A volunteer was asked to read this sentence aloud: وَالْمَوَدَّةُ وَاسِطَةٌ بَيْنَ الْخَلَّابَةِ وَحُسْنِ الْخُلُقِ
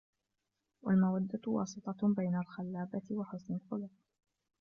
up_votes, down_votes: 2, 0